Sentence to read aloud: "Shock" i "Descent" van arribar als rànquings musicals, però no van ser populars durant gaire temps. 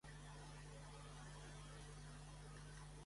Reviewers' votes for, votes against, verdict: 0, 2, rejected